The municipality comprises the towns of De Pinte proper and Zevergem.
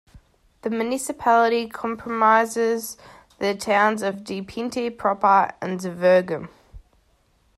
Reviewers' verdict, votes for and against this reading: rejected, 1, 2